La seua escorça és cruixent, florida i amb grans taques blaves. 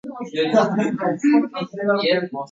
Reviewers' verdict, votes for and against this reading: rejected, 0, 2